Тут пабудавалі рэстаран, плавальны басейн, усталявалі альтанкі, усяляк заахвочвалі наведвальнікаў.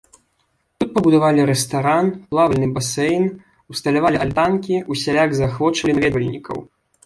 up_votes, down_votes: 1, 3